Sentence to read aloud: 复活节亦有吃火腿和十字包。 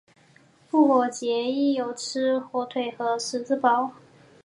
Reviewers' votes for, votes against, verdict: 4, 0, accepted